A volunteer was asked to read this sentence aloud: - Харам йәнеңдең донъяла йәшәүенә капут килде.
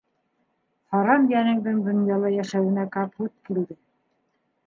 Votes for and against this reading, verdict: 2, 0, accepted